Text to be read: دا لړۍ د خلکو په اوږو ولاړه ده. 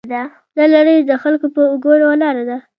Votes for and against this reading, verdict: 0, 2, rejected